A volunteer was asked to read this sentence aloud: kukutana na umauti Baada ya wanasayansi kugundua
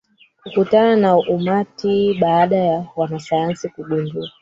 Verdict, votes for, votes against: rejected, 0, 4